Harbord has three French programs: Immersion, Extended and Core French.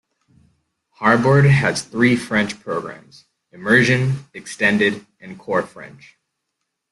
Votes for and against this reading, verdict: 0, 2, rejected